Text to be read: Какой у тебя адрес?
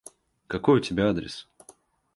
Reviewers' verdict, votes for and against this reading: accepted, 2, 0